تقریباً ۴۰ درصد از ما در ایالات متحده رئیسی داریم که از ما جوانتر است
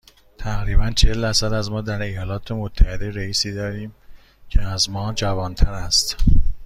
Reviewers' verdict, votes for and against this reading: rejected, 0, 2